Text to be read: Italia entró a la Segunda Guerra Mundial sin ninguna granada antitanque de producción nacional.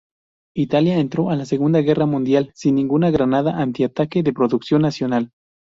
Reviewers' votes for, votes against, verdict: 0, 4, rejected